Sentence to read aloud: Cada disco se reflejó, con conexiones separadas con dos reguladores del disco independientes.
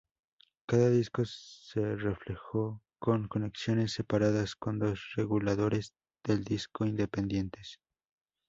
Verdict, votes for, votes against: accepted, 2, 0